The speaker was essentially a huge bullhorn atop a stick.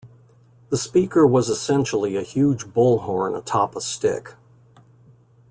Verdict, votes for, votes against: accepted, 2, 0